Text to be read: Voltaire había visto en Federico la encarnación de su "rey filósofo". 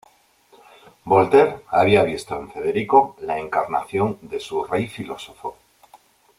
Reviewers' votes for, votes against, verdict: 1, 2, rejected